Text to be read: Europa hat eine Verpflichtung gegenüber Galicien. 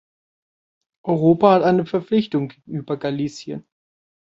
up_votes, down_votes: 1, 2